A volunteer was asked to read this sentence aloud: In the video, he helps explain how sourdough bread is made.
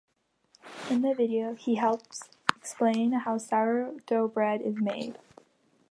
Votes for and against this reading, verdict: 2, 0, accepted